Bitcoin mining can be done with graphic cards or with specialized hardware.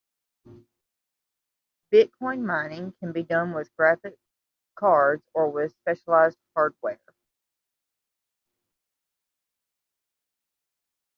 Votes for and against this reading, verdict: 2, 0, accepted